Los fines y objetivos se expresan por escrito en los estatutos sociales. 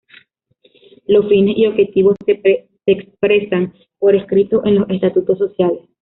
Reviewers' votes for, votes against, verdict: 2, 0, accepted